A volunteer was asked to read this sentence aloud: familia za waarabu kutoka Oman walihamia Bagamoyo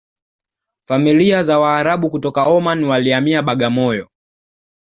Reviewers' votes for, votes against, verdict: 2, 0, accepted